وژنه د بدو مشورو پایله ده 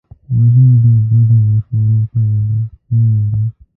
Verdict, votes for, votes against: rejected, 0, 2